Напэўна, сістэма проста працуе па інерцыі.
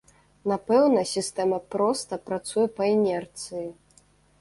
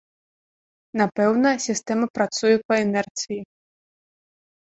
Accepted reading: first